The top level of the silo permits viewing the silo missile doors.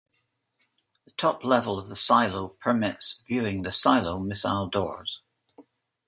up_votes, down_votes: 2, 1